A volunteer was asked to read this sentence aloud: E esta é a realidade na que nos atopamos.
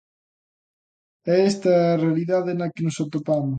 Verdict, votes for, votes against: accepted, 2, 1